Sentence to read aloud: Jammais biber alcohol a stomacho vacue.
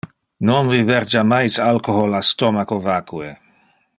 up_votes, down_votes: 0, 2